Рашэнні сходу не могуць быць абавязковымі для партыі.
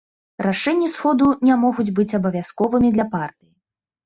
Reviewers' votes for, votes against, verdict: 1, 3, rejected